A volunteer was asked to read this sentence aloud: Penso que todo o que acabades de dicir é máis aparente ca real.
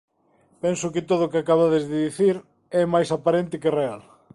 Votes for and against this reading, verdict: 0, 2, rejected